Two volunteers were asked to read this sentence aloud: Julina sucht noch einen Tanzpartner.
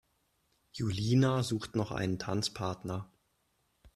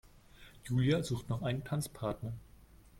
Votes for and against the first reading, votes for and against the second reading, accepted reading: 2, 0, 1, 2, first